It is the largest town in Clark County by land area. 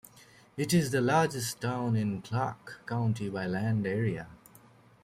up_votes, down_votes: 0, 2